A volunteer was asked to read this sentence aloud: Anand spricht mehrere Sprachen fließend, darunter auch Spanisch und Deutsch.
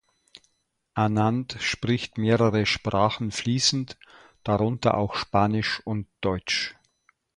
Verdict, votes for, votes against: accepted, 2, 0